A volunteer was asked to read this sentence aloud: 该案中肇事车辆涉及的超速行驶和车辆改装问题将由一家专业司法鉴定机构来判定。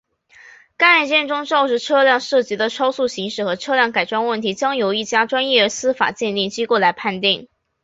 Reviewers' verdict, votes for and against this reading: accepted, 2, 0